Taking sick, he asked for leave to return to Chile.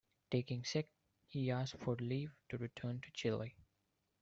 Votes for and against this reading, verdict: 2, 1, accepted